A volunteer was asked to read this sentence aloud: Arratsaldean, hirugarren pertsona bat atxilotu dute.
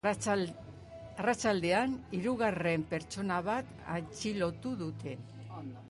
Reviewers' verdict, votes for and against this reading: rejected, 1, 2